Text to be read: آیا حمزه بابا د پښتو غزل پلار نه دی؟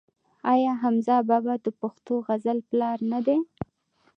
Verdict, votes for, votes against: accepted, 2, 0